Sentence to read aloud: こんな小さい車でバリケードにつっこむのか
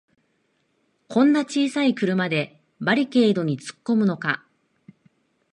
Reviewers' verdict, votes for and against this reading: accepted, 3, 0